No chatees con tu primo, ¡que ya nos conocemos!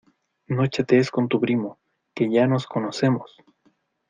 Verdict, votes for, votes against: accepted, 2, 0